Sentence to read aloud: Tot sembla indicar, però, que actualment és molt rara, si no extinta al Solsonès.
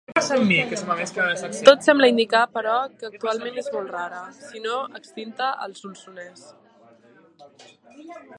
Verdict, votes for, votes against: rejected, 0, 2